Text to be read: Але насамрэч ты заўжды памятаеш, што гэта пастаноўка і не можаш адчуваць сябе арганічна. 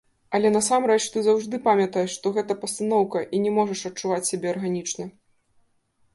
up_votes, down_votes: 1, 2